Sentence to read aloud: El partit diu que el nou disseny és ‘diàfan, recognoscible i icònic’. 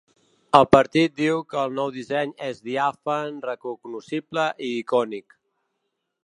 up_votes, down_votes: 1, 2